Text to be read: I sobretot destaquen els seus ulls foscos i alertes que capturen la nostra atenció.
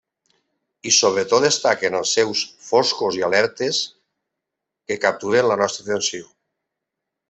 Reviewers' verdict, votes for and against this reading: rejected, 1, 2